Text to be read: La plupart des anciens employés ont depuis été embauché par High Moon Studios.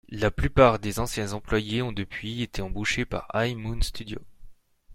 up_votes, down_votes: 2, 0